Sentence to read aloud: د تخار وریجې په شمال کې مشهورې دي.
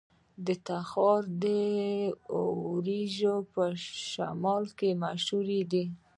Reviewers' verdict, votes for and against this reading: accepted, 2, 0